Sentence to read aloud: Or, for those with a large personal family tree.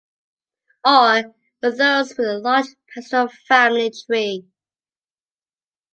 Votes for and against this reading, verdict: 0, 2, rejected